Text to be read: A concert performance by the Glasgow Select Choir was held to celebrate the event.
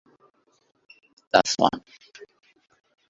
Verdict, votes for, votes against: rejected, 0, 2